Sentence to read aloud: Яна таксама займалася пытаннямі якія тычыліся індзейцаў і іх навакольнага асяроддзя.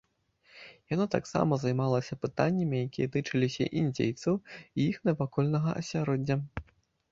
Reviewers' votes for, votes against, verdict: 2, 0, accepted